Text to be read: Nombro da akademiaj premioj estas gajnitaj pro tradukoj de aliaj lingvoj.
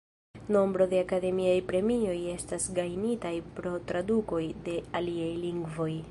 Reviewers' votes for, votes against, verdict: 1, 2, rejected